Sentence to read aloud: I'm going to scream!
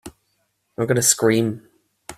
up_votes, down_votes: 2, 3